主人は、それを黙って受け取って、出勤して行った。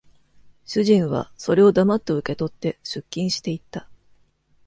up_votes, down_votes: 2, 0